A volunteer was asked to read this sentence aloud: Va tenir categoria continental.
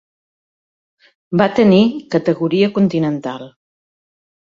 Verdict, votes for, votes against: accepted, 2, 0